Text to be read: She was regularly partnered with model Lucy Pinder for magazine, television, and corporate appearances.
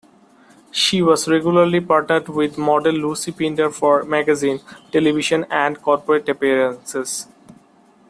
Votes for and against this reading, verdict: 2, 0, accepted